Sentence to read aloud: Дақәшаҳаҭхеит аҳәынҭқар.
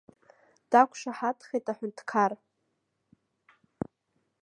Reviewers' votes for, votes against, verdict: 1, 2, rejected